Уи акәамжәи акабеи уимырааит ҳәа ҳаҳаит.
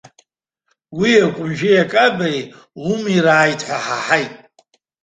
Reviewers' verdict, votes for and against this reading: rejected, 1, 2